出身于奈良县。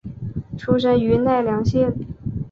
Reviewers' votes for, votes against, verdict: 2, 0, accepted